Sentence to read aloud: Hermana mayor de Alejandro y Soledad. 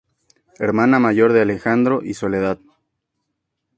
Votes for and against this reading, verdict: 6, 0, accepted